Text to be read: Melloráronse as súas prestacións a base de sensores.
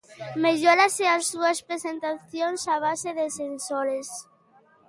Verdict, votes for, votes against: rejected, 1, 2